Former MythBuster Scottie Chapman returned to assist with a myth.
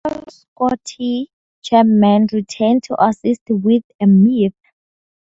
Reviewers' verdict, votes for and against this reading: rejected, 0, 2